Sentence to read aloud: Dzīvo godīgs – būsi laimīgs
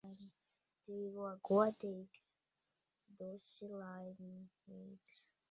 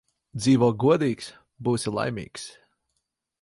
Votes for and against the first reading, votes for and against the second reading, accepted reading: 0, 2, 4, 0, second